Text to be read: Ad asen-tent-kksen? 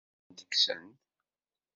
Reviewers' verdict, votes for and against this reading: rejected, 1, 2